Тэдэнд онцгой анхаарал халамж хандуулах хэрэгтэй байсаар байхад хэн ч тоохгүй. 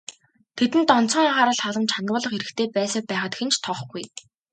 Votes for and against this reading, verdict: 2, 0, accepted